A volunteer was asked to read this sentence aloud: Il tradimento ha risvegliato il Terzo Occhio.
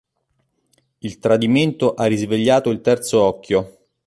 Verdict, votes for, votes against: accepted, 2, 0